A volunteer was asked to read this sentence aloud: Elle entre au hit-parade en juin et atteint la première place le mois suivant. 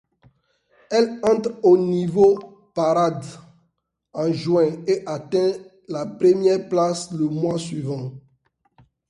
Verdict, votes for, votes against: rejected, 1, 2